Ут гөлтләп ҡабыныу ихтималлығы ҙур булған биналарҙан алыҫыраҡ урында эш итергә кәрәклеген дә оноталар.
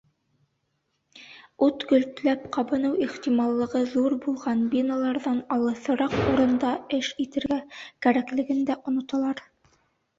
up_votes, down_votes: 1, 2